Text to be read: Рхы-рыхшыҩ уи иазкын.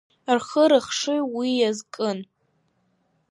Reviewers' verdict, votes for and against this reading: accepted, 2, 0